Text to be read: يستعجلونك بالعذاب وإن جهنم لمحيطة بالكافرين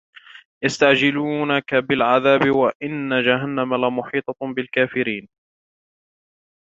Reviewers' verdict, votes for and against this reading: accepted, 2, 1